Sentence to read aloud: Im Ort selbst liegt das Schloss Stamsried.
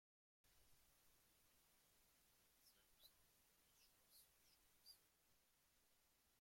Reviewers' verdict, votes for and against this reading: rejected, 0, 2